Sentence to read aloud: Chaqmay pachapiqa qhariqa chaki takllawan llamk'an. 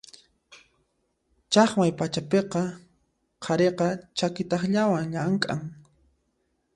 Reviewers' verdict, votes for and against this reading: accepted, 2, 0